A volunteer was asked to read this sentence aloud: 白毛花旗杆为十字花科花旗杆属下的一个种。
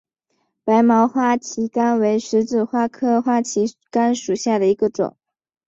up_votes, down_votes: 2, 0